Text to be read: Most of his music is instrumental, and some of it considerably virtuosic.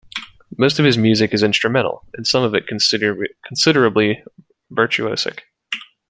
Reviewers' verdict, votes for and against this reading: rejected, 1, 2